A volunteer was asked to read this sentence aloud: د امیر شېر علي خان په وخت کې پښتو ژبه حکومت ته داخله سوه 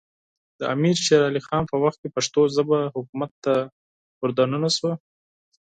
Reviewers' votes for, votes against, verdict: 4, 2, accepted